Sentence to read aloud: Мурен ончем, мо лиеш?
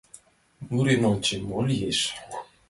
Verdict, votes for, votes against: accepted, 2, 1